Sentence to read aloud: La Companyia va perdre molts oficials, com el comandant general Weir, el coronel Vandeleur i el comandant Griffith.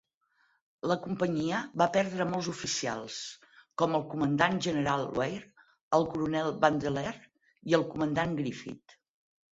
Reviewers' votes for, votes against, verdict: 4, 0, accepted